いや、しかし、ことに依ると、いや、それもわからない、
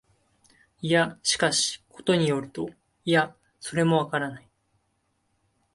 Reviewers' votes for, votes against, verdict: 2, 0, accepted